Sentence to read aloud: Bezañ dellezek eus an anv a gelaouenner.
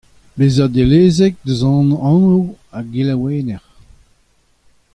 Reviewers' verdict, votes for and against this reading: accepted, 2, 1